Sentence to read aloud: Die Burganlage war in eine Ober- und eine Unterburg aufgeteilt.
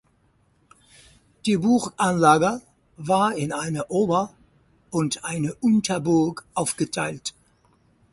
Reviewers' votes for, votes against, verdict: 0, 4, rejected